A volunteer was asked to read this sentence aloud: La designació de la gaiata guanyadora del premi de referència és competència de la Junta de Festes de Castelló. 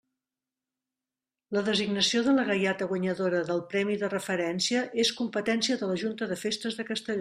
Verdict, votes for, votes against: rejected, 0, 2